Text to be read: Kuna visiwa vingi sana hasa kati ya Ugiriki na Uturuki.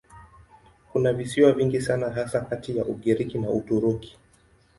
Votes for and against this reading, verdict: 10, 1, accepted